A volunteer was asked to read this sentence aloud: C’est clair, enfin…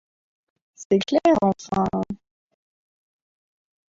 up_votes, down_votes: 1, 2